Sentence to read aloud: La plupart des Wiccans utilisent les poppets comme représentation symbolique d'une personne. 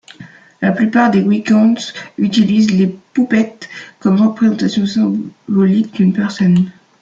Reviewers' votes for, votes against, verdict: 0, 2, rejected